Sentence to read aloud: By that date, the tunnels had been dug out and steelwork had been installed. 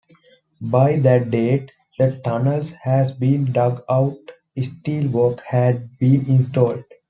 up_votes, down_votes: 1, 2